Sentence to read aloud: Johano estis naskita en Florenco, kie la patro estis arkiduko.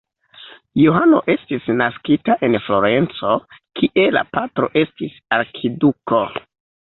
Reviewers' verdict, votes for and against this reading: accepted, 2, 1